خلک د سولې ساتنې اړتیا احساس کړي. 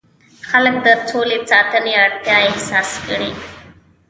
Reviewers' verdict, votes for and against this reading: accepted, 2, 0